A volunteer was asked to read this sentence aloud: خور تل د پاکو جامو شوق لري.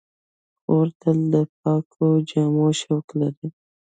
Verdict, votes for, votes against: rejected, 1, 2